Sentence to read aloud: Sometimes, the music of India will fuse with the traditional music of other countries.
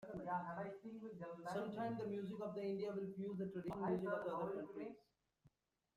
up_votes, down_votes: 0, 2